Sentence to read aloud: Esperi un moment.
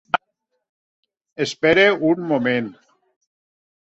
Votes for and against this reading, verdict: 0, 2, rejected